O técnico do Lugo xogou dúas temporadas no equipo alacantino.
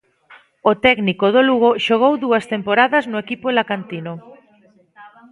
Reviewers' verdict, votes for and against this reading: accepted, 2, 0